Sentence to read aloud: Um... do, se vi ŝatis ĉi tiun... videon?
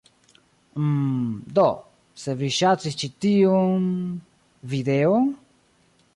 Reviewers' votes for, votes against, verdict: 1, 2, rejected